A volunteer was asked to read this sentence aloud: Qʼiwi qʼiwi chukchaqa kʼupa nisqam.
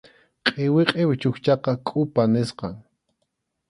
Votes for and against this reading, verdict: 2, 0, accepted